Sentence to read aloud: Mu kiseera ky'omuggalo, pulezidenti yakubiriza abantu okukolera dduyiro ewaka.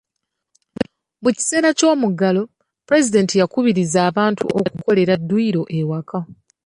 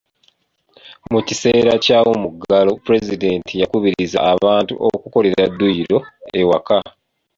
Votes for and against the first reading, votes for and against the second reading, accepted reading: 2, 0, 1, 2, first